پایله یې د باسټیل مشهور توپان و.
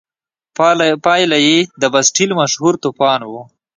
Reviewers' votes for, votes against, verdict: 2, 0, accepted